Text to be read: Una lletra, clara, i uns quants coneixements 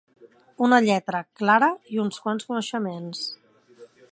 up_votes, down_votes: 3, 0